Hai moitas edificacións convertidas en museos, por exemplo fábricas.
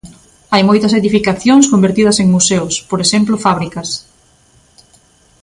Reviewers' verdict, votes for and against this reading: accepted, 2, 0